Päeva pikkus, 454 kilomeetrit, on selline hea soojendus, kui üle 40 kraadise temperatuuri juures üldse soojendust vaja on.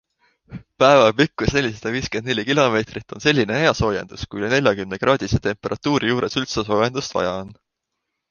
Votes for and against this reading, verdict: 0, 2, rejected